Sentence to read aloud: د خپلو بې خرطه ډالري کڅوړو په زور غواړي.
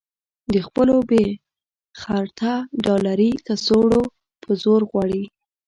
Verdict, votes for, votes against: rejected, 1, 2